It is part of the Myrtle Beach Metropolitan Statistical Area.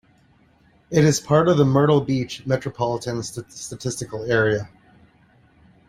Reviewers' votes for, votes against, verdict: 1, 2, rejected